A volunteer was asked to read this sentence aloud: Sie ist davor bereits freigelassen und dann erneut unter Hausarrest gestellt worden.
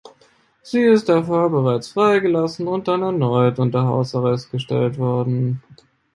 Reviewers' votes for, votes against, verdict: 1, 2, rejected